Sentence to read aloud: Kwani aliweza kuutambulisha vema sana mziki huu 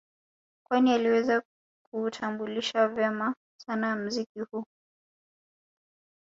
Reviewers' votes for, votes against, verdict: 2, 0, accepted